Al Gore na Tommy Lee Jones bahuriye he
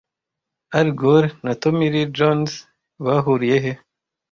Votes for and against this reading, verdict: 2, 0, accepted